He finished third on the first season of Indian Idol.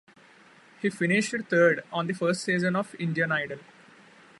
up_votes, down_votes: 0, 2